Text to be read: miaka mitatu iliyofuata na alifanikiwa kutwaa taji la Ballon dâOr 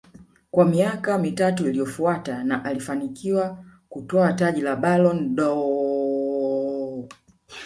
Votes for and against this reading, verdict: 1, 2, rejected